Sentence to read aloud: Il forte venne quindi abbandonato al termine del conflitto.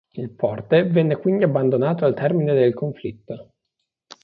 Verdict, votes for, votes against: accepted, 2, 0